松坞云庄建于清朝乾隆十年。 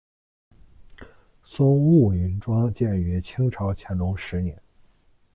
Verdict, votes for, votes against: rejected, 1, 2